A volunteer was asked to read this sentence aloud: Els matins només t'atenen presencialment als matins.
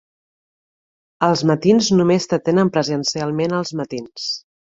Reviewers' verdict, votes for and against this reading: accepted, 2, 0